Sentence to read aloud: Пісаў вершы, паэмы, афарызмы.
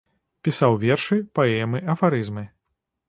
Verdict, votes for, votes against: accepted, 2, 0